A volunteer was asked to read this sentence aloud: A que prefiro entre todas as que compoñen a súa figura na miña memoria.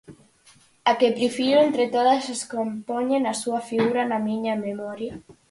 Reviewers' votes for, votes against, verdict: 0, 4, rejected